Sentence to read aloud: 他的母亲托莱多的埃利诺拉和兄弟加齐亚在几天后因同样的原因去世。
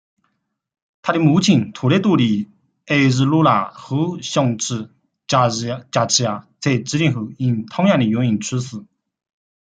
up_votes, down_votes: 0, 2